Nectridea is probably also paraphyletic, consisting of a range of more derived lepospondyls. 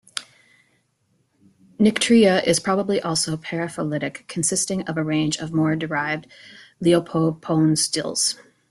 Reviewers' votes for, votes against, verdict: 0, 2, rejected